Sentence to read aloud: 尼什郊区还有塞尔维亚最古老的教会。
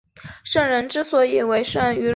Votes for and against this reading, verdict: 1, 2, rejected